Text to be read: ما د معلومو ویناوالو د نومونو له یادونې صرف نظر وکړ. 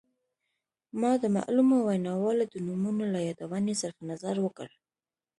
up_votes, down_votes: 2, 0